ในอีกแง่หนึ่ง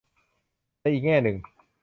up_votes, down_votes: 5, 0